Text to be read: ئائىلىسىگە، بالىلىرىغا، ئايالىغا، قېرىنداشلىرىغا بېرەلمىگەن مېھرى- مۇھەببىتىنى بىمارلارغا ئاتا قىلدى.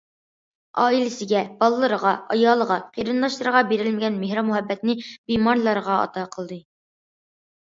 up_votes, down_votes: 2, 0